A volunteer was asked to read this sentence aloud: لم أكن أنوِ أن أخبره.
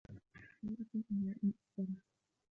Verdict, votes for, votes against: rejected, 0, 2